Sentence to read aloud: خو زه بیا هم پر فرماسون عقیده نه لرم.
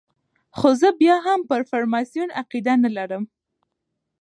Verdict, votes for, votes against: accepted, 2, 0